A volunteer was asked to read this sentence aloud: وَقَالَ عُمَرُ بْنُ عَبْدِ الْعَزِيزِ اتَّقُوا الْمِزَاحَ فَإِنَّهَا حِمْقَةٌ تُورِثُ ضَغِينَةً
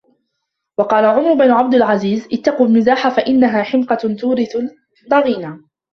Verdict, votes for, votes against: rejected, 0, 2